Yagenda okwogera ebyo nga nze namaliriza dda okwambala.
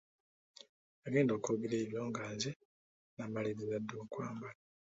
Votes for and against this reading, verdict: 2, 0, accepted